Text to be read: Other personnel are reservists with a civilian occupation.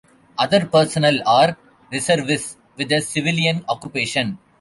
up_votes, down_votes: 1, 2